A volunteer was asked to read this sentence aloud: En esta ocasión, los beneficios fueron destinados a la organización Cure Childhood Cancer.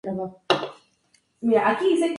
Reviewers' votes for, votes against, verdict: 0, 2, rejected